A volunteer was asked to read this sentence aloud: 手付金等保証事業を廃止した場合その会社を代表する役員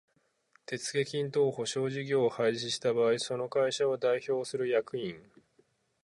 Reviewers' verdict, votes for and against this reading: accepted, 4, 0